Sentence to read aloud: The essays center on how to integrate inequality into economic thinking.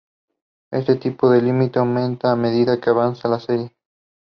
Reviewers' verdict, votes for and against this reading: rejected, 0, 2